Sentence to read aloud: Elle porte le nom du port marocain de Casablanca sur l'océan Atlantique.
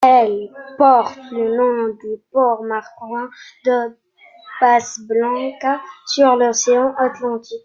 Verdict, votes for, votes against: rejected, 0, 2